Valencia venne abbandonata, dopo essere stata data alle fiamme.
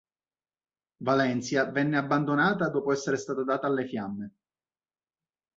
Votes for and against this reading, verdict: 3, 0, accepted